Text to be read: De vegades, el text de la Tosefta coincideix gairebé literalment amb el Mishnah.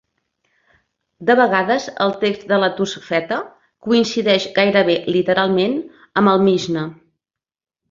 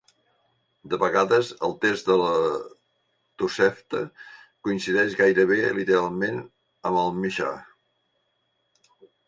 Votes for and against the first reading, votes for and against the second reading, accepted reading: 0, 2, 2, 1, second